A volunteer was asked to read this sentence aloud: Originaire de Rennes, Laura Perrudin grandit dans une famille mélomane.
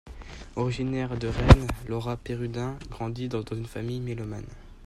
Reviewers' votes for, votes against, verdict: 2, 0, accepted